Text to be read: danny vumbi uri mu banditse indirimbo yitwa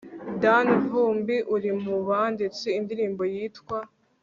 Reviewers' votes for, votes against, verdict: 2, 0, accepted